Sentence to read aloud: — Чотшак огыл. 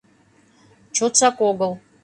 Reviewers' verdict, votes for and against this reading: accepted, 2, 0